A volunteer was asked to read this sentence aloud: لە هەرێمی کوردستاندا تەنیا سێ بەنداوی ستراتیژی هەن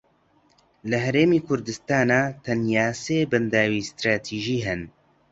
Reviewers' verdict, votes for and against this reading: rejected, 1, 2